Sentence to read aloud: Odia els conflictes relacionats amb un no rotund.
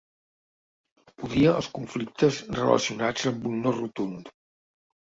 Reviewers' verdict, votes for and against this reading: accepted, 2, 0